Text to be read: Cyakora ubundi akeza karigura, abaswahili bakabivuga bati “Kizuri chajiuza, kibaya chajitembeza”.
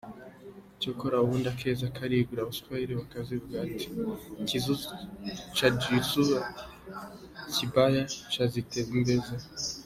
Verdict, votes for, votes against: rejected, 0, 2